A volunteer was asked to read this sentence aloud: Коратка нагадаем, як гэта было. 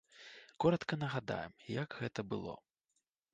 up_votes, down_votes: 2, 0